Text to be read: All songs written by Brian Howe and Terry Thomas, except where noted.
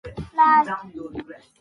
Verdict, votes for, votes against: rejected, 0, 2